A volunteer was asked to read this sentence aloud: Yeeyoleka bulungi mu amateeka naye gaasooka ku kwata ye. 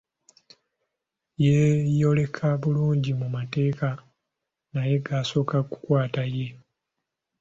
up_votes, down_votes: 2, 1